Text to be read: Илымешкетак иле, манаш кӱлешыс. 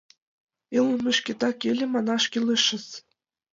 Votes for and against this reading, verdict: 2, 0, accepted